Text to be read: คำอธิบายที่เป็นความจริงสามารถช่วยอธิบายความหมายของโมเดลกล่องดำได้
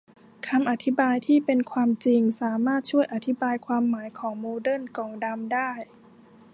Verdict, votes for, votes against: rejected, 0, 2